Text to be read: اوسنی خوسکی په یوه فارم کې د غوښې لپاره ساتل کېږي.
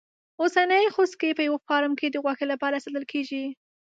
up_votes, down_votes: 2, 0